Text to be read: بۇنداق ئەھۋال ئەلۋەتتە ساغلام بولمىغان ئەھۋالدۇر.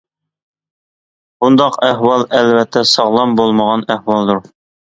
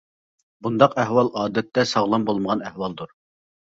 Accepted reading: first